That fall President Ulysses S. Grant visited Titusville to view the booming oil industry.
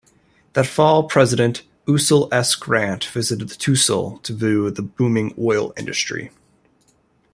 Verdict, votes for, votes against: rejected, 0, 2